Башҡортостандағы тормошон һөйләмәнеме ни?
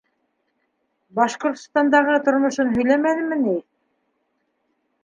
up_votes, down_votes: 2, 0